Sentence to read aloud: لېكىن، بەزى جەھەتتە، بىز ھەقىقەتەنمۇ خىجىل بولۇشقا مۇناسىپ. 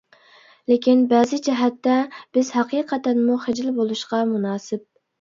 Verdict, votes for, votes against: accepted, 2, 0